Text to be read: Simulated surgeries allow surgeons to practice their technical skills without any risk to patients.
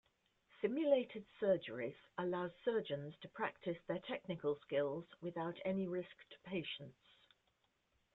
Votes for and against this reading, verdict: 0, 2, rejected